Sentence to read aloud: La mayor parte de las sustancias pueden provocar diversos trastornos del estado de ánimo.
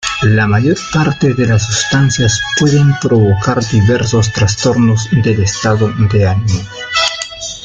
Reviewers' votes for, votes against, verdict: 0, 2, rejected